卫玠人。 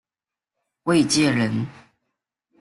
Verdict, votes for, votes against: accepted, 2, 0